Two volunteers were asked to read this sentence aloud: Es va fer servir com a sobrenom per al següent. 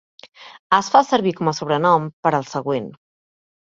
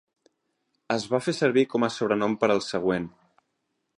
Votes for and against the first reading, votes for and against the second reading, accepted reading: 0, 2, 3, 0, second